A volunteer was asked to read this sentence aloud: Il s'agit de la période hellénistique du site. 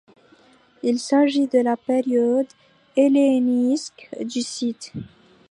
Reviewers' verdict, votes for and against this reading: rejected, 0, 2